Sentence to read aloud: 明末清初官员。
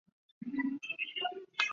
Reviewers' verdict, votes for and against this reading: rejected, 0, 2